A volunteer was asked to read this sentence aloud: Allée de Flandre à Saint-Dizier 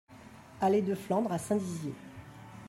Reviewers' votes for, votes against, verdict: 2, 1, accepted